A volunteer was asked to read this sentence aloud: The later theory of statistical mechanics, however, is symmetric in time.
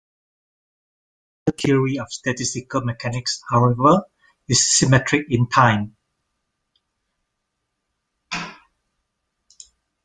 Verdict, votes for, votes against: rejected, 0, 2